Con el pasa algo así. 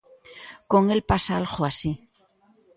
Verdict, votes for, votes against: accepted, 2, 0